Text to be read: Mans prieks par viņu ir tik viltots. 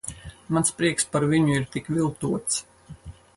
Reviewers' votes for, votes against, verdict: 4, 0, accepted